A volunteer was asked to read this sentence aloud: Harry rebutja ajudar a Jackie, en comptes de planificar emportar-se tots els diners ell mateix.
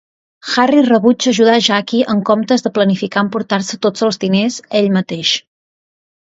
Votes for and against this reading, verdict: 2, 0, accepted